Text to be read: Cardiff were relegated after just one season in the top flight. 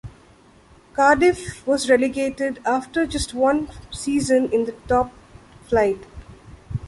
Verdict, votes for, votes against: rejected, 0, 2